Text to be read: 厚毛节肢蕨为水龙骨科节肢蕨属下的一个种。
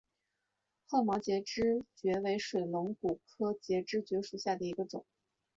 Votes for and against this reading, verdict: 2, 1, accepted